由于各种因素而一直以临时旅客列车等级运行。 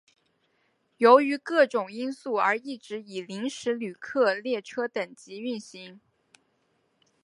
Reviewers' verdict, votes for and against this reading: rejected, 1, 2